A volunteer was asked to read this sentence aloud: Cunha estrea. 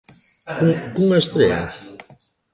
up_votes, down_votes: 1, 2